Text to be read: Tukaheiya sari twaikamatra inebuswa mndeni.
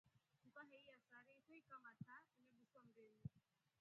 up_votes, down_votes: 1, 2